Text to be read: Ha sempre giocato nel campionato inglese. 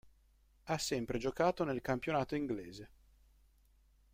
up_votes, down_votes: 2, 0